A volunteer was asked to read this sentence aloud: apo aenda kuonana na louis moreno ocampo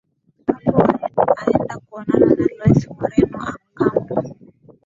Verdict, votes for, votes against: accepted, 11, 6